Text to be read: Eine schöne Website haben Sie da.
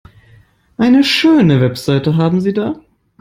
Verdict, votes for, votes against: accepted, 2, 0